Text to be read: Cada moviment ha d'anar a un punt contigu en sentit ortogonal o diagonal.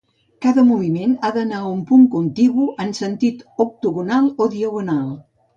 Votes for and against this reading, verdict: 0, 2, rejected